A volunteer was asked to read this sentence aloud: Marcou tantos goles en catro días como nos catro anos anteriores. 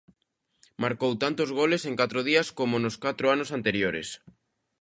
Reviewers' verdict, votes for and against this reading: accepted, 2, 0